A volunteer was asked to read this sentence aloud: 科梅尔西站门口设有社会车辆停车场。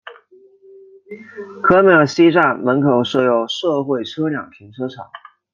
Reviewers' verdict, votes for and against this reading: accepted, 2, 0